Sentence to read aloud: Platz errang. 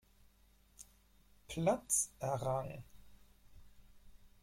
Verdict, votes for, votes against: rejected, 2, 4